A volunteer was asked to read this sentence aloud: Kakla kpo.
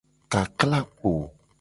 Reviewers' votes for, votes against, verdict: 2, 0, accepted